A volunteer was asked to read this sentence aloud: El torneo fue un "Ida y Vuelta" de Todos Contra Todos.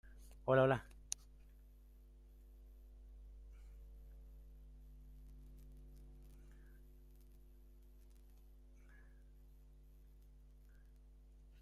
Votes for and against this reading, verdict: 0, 2, rejected